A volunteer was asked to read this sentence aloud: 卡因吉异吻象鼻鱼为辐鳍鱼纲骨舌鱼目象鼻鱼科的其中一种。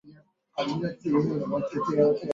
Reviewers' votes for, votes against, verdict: 0, 2, rejected